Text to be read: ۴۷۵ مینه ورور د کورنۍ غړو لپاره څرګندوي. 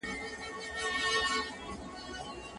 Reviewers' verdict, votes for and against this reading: rejected, 0, 2